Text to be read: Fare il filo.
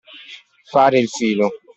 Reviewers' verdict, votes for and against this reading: accepted, 2, 0